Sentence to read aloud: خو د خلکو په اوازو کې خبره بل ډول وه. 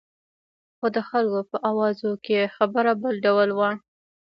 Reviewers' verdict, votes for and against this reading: accepted, 2, 0